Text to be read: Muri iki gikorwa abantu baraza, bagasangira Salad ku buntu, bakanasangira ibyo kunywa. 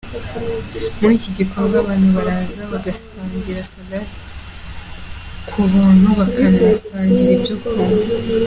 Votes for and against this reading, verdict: 0, 2, rejected